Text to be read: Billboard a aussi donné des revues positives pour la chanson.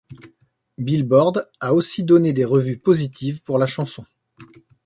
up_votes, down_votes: 2, 0